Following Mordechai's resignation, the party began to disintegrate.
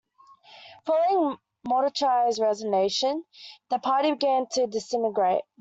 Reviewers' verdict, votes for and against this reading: rejected, 1, 2